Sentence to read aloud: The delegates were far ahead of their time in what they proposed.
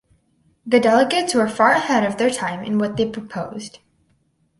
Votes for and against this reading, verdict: 6, 0, accepted